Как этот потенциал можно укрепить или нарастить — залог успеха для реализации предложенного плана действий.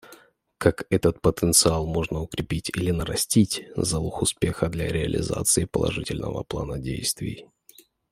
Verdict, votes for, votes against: rejected, 1, 2